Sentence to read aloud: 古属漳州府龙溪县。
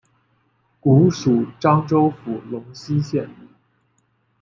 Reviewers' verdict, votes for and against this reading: accepted, 2, 0